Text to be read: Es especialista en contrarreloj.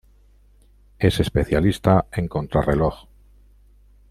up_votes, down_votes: 2, 0